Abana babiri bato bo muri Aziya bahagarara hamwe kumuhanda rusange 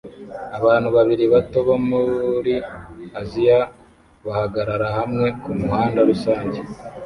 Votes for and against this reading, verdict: 1, 2, rejected